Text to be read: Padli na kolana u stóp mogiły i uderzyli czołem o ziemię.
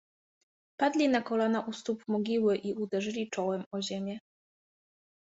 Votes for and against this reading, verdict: 2, 0, accepted